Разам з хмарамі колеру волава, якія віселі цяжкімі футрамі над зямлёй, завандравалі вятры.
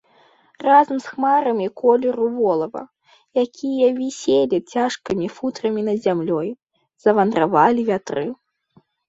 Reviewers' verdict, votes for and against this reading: accepted, 2, 0